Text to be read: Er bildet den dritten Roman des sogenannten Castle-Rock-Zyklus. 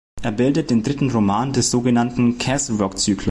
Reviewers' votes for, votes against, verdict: 0, 2, rejected